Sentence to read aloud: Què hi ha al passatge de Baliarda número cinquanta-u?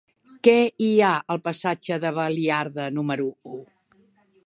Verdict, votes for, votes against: rejected, 0, 2